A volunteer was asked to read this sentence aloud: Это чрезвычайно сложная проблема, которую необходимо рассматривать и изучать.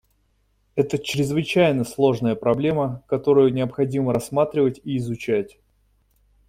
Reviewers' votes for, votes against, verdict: 2, 0, accepted